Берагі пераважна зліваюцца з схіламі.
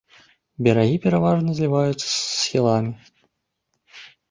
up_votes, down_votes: 0, 2